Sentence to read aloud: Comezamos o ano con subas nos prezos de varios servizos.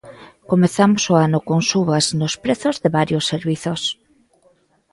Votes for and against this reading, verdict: 3, 0, accepted